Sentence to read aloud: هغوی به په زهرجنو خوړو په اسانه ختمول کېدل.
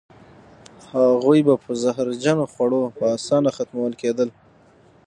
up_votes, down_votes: 9, 0